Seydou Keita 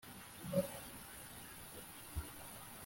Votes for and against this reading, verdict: 0, 2, rejected